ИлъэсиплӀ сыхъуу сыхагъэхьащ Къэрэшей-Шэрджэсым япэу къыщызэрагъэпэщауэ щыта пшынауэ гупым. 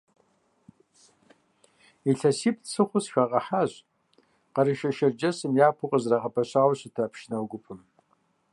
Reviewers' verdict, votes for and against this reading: accepted, 2, 0